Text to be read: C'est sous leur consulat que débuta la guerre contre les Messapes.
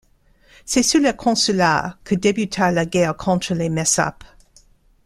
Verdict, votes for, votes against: accepted, 2, 1